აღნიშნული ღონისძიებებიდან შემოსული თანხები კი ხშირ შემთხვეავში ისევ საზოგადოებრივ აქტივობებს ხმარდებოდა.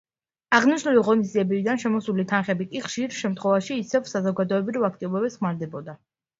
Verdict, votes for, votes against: rejected, 0, 2